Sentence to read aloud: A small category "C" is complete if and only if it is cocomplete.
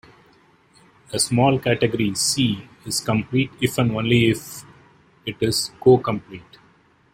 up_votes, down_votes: 2, 0